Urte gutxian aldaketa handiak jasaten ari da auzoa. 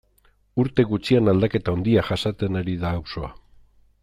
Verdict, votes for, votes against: accepted, 2, 0